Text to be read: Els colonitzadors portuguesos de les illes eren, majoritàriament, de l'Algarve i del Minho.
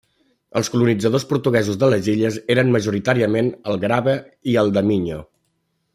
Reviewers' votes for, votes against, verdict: 0, 2, rejected